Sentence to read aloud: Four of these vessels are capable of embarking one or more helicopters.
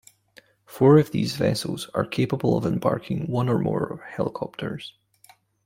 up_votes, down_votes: 0, 2